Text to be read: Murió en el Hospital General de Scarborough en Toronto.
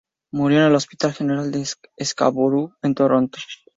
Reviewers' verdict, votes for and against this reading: rejected, 2, 2